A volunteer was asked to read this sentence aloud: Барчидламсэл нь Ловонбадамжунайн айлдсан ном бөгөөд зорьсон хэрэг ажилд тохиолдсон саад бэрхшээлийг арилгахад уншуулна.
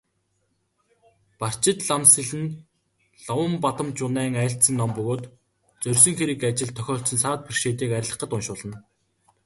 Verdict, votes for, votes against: accepted, 4, 0